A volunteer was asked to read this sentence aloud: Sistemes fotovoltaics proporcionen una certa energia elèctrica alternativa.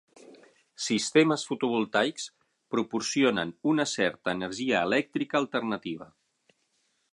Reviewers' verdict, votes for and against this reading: accepted, 15, 0